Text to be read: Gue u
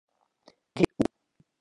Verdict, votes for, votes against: rejected, 0, 2